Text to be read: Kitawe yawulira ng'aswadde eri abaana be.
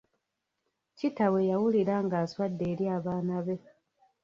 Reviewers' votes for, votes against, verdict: 1, 2, rejected